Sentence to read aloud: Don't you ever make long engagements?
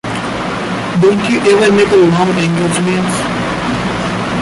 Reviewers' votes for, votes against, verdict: 0, 2, rejected